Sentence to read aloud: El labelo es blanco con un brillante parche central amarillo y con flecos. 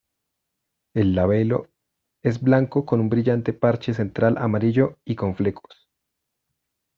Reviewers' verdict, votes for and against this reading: accepted, 2, 0